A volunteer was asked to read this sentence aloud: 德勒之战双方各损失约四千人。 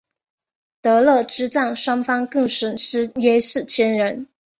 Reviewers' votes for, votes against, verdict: 2, 0, accepted